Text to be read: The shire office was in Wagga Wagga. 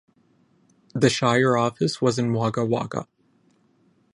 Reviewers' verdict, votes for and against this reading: accepted, 10, 0